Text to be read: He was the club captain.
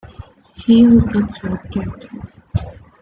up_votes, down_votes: 0, 2